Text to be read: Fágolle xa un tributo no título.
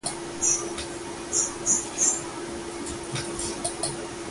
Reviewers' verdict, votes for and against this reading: rejected, 0, 2